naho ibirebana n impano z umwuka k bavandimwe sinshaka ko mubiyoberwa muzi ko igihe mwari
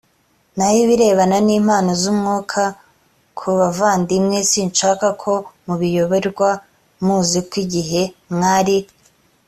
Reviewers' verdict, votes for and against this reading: accepted, 2, 0